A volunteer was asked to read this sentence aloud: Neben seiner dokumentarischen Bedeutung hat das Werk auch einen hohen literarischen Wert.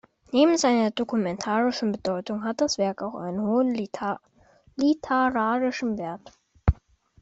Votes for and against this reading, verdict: 0, 2, rejected